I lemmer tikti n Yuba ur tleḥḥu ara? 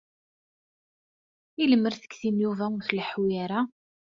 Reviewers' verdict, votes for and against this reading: accepted, 2, 0